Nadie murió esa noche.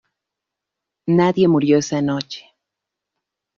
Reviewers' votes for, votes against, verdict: 2, 0, accepted